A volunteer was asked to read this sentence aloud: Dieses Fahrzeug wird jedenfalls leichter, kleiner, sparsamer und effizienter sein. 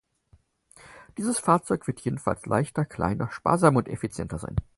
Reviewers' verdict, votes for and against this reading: accepted, 4, 0